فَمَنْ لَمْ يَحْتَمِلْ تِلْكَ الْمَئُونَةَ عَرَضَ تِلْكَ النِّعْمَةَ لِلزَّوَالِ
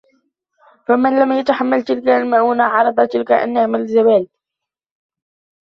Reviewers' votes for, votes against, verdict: 0, 2, rejected